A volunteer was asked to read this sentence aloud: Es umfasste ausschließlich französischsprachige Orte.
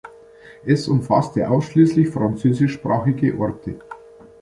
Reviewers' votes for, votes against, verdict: 2, 0, accepted